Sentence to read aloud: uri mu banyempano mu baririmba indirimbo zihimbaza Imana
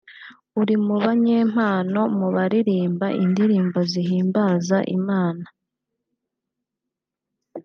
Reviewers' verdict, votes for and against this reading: accepted, 2, 0